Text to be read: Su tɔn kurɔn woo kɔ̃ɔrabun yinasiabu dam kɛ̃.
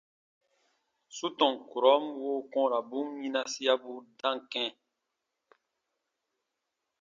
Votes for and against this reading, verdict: 2, 0, accepted